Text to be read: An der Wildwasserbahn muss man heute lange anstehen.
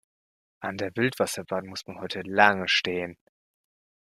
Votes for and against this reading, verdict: 0, 2, rejected